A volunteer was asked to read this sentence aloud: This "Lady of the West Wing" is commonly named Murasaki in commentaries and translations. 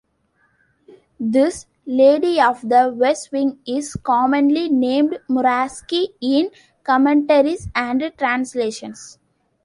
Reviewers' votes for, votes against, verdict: 1, 2, rejected